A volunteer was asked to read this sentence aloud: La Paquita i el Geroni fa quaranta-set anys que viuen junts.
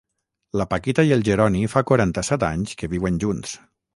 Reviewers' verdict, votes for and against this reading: accepted, 6, 0